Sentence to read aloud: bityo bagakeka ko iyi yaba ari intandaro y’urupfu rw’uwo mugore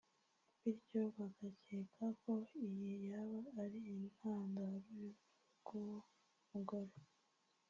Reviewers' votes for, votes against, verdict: 0, 2, rejected